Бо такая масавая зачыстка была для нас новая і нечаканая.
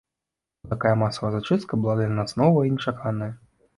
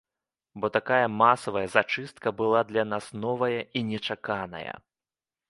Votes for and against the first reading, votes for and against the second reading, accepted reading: 1, 2, 2, 0, second